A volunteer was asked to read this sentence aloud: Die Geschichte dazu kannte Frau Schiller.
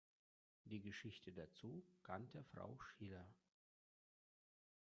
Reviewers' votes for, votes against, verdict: 1, 2, rejected